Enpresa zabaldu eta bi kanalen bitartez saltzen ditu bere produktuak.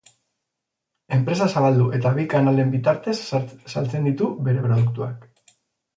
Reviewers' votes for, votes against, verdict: 2, 2, rejected